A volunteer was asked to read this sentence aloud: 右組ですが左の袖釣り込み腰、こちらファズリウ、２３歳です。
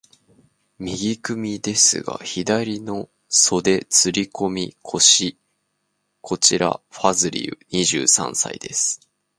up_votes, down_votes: 0, 2